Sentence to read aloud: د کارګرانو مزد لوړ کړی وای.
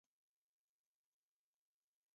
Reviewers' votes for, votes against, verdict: 0, 2, rejected